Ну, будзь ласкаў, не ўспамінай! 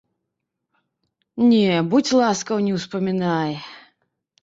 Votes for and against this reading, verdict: 0, 2, rejected